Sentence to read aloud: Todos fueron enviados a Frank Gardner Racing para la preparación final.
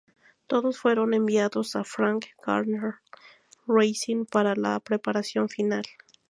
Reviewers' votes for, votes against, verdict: 2, 0, accepted